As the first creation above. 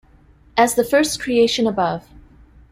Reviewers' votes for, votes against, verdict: 2, 0, accepted